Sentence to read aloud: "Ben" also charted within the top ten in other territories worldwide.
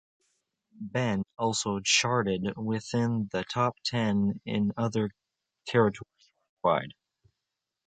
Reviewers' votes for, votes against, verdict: 0, 2, rejected